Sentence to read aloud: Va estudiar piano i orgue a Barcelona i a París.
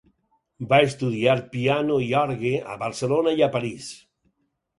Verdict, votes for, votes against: accepted, 6, 0